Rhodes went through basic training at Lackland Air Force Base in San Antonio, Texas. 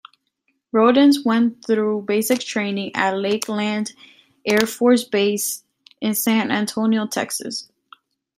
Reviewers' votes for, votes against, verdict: 1, 2, rejected